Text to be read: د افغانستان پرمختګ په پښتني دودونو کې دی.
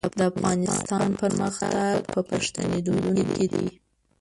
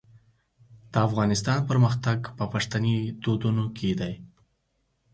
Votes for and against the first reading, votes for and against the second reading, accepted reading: 1, 2, 4, 0, second